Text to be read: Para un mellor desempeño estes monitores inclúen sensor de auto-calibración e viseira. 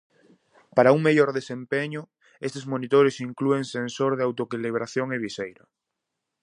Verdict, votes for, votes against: rejected, 0, 2